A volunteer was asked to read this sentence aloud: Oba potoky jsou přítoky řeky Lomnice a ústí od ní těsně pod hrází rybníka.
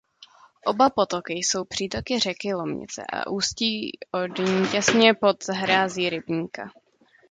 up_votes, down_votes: 1, 2